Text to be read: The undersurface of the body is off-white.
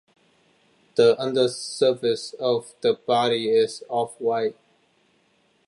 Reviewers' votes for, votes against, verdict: 2, 0, accepted